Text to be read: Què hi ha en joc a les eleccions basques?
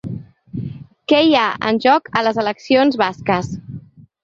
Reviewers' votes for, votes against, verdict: 3, 0, accepted